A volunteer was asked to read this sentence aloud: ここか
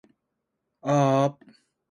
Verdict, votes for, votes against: rejected, 0, 2